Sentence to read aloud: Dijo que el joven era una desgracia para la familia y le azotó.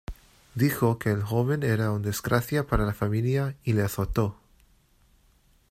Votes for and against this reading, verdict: 1, 2, rejected